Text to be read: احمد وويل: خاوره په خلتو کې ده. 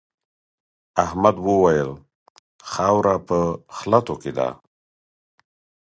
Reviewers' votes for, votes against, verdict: 0, 4, rejected